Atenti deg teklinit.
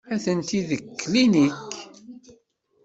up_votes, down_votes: 1, 2